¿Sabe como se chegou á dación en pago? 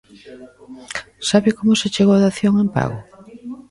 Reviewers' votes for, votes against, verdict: 1, 2, rejected